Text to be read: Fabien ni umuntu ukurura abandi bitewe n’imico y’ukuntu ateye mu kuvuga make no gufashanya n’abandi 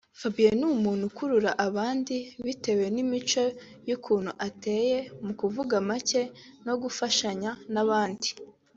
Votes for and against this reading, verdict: 4, 0, accepted